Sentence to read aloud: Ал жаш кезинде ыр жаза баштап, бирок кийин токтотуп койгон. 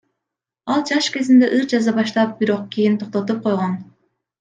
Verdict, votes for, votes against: rejected, 1, 2